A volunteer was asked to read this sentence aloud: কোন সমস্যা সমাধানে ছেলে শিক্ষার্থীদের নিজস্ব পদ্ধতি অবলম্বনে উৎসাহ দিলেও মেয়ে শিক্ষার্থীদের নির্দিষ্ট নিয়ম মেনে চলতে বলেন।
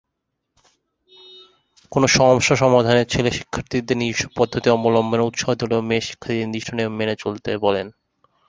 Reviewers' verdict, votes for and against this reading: rejected, 0, 2